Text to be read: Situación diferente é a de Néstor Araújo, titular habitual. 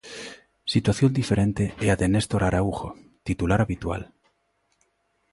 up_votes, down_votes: 2, 0